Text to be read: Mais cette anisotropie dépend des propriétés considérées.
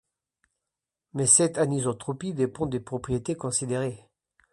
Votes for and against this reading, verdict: 3, 1, accepted